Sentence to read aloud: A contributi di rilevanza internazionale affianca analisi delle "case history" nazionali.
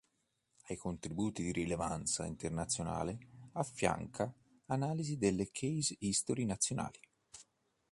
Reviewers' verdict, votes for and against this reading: accepted, 2, 0